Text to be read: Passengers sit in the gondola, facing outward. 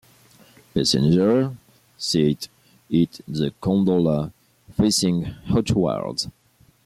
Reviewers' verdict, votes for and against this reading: accepted, 2, 0